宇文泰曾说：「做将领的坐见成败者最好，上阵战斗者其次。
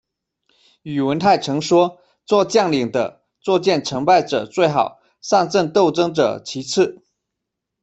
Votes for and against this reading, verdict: 1, 2, rejected